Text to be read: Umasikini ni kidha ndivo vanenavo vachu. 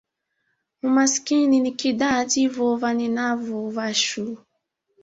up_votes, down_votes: 2, 1